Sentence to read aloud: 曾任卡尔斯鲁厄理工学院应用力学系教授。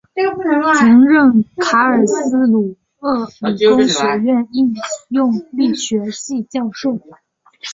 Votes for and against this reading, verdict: 0, 2, rejected